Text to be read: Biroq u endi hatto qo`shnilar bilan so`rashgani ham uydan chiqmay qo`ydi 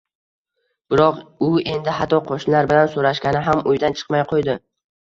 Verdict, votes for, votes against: accepted, 2, 0